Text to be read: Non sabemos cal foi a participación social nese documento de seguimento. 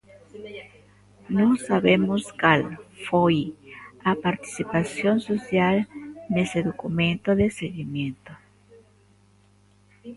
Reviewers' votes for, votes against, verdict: 0, 2, rejected